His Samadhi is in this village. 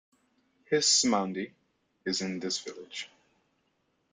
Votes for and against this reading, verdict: 0, 2, rejected